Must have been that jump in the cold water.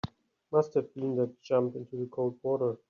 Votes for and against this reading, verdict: 2, 4, rejected